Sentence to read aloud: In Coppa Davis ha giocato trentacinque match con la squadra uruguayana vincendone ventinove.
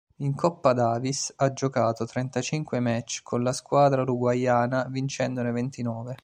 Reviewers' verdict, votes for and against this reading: accepted, 2, 1